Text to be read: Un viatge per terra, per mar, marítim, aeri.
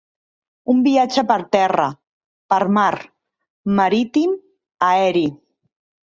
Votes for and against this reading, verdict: 4, 0, accepted